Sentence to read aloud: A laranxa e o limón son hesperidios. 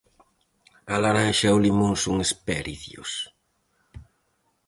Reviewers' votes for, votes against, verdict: 0, 4, rejected